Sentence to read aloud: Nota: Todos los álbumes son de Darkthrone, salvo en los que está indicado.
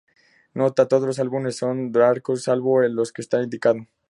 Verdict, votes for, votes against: rejected, 2, 2